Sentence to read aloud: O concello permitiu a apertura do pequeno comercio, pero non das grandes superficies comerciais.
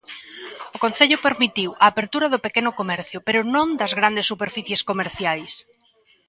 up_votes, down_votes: 1, 2